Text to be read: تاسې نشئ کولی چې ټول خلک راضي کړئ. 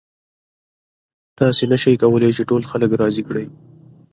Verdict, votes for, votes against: accepted, 2, 0